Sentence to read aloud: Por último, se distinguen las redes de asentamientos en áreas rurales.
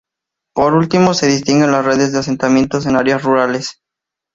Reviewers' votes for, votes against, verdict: 2, 0, accepted